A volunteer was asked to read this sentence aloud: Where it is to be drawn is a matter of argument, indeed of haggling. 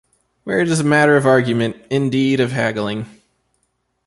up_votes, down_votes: 1, 2